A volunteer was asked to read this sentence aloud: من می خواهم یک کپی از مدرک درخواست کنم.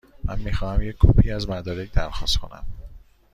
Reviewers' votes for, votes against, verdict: 1, 2, rejected